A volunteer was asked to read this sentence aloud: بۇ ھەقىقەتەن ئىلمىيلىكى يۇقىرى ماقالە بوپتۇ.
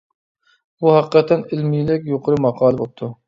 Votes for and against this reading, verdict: 0, 2, rejected